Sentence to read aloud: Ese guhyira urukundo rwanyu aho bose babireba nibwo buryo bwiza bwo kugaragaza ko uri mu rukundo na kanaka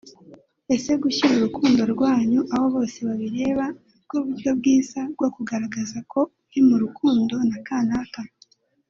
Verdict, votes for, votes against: accepted, 2, 0